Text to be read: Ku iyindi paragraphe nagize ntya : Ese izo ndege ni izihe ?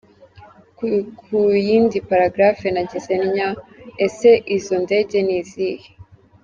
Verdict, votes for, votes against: rejected, 0, 2